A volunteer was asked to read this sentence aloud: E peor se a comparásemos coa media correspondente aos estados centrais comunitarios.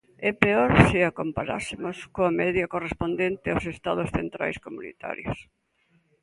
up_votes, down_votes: 2, 0